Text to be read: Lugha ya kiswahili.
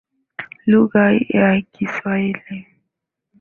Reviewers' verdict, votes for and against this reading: accepted, 2, 0